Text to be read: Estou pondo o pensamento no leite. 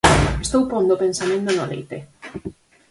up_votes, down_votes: 2, 4